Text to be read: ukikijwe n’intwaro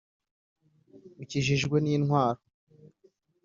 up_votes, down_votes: 2, 3